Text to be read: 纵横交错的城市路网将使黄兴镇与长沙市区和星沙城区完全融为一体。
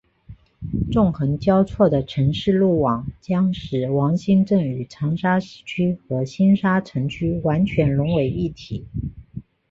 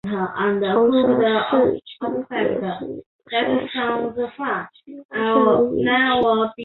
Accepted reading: first